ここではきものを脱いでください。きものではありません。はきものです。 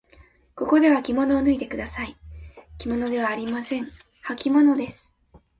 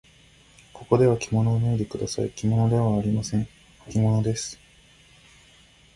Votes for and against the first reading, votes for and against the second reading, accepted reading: 1, 2, 2, 0, second